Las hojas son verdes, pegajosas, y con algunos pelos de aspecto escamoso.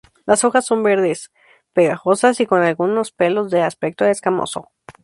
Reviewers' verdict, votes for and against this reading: accepted, 2, 0